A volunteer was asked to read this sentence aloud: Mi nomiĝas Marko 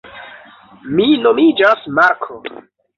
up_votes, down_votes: 2, 0